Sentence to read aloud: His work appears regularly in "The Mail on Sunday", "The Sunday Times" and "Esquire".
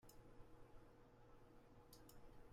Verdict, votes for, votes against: rejected, 0, 2